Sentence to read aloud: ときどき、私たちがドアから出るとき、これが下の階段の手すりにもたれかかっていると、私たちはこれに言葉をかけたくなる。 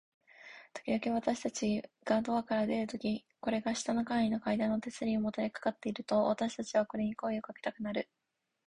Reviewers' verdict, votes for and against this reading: rejected, 2, 3